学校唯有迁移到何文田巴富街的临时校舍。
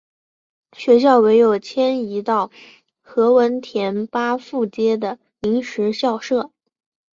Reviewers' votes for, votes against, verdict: 3, 0, accepted